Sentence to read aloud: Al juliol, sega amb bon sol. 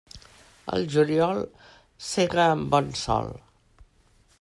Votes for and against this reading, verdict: 2, 0, accepted